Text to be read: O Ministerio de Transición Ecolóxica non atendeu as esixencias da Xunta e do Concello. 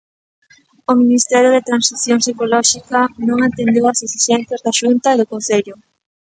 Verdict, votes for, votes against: rejected, 0, 2